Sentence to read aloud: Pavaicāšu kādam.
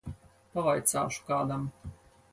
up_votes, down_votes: 4, 0